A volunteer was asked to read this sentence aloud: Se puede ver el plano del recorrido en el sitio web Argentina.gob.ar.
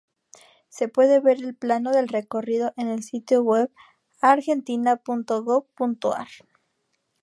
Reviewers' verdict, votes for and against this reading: rejected, 0, 2